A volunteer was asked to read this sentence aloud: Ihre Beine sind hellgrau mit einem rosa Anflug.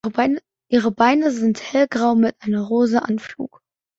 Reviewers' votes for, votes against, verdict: 0, 3, rejected